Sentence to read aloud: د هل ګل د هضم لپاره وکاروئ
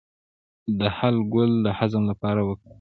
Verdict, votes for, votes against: rejected, 0, 2